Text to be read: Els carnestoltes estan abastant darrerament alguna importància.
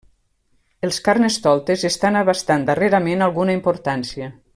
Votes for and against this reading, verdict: 3, 0, accepted